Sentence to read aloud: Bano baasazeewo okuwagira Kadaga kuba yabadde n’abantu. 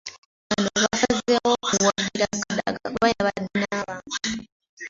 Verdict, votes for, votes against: rejected, 0, 2